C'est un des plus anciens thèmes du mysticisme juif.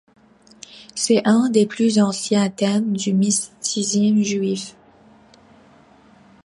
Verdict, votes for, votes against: rejected, 0, 2